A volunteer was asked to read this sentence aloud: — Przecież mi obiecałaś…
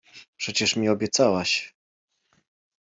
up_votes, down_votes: 2, 0